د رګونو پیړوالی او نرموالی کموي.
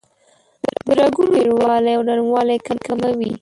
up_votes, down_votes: 1, 2